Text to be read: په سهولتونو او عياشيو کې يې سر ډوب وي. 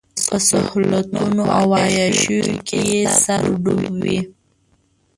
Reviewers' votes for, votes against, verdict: 0, 2, rejected